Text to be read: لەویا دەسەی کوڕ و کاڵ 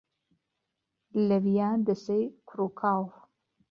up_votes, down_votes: 2, 0